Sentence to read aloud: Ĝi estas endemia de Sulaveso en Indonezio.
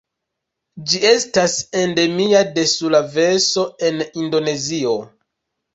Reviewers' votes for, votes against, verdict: 2, 0, accepted